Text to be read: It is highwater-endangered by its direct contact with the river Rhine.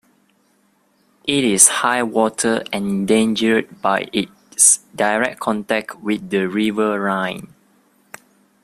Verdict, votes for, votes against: accepted, 2, 1